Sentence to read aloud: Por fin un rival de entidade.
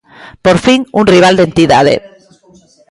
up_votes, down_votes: 2, 0